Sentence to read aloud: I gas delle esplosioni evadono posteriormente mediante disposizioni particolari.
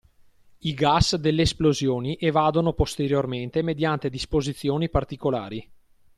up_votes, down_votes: 2, 0